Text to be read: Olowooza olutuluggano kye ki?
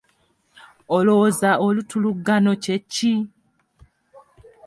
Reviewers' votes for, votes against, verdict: 2, 0, accepted